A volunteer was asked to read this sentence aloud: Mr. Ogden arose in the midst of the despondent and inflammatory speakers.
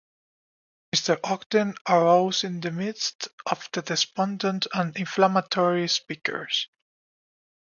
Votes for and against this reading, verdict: 2, 0, accepted